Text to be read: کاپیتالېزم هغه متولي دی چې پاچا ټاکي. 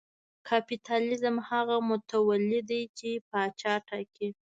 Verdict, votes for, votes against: accepted, 2, 0